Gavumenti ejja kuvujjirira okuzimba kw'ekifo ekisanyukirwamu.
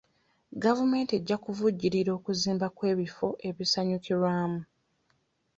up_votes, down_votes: 1, 2